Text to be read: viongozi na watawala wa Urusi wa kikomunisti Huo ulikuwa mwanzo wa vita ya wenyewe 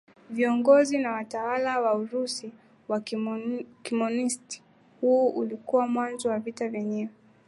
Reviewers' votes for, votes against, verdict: 10, 5, accepted